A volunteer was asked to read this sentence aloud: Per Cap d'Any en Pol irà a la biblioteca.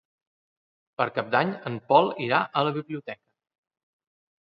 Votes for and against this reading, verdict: 1, 2, rejected